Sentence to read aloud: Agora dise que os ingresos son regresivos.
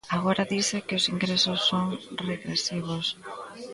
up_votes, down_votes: 2, 0